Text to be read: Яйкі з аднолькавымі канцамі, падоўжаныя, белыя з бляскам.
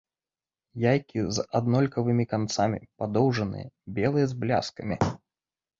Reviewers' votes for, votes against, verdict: 1, 2, rejected